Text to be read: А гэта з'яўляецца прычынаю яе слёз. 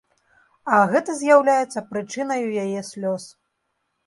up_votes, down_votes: 2, 0